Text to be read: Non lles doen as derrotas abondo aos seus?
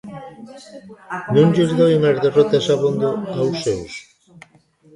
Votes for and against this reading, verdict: 1, 2, rejected